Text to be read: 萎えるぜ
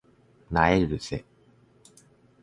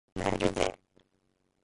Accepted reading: first